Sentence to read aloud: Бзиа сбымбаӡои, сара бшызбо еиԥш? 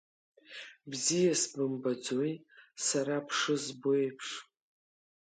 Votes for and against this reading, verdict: 2, 0, accepted